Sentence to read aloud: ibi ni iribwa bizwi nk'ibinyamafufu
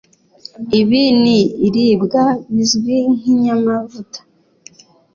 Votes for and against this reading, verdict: 1, 2, rejected